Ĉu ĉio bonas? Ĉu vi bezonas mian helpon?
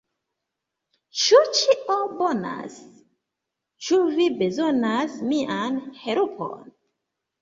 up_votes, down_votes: 2, 1